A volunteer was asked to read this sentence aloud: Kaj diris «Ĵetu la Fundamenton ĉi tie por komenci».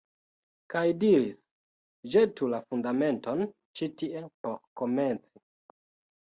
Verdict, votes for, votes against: accepted, 2, 1